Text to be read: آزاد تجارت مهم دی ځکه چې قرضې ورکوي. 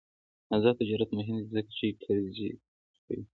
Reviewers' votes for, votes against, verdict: 2, 0, accepted